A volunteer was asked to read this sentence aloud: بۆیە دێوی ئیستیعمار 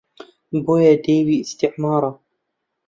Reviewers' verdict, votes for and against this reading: rejected, 0, 2